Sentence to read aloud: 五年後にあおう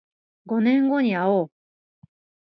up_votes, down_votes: 2, 0